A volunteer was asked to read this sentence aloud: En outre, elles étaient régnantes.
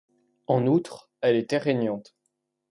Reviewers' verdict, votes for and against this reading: rejected, 1, 2